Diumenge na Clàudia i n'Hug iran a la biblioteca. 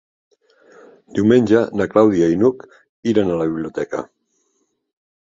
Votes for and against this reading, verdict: 3, 0, accepted